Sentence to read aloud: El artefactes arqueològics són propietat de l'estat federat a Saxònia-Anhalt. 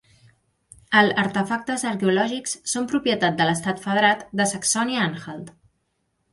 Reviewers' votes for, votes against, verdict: 0, 2, rejected